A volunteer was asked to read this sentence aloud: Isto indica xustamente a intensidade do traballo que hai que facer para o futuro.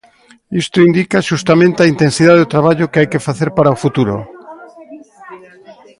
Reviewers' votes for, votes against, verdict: 2, 1, accepted